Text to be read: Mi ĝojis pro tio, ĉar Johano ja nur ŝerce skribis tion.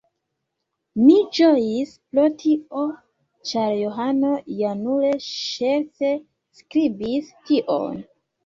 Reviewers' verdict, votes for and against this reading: rejected, 0, 2